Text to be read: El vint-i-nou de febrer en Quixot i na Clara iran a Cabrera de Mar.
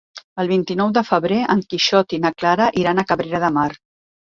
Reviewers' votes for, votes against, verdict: 3, 0, accepted